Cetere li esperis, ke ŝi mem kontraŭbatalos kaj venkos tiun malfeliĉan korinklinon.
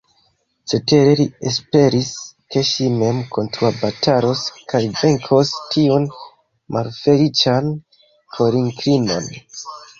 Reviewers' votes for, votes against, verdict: 1, 2, rejected